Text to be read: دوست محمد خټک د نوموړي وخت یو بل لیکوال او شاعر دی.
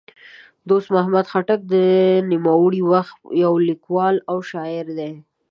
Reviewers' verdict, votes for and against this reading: rejected, 1, 2